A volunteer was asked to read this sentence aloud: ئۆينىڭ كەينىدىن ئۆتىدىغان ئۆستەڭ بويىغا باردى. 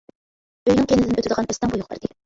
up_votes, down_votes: 0, 2